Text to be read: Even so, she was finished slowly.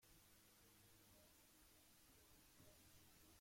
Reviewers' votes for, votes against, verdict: 0, 2, rejected